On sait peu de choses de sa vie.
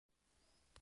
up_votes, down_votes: 0, 2